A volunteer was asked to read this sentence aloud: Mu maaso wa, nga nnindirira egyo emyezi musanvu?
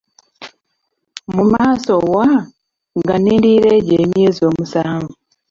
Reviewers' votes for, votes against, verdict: 0, 2, rejected